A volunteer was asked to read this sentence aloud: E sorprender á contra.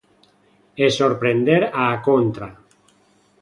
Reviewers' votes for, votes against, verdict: 2, 0, accepted